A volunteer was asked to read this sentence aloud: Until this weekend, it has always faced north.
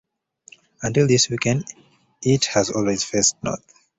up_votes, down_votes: 2, 0